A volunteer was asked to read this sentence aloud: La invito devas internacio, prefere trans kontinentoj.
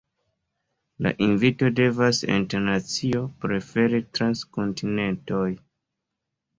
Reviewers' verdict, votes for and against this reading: accepted, 2, 0